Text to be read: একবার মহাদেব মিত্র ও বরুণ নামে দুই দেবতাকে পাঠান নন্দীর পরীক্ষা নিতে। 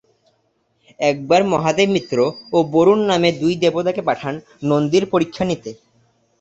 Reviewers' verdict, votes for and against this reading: accepted, 2, 0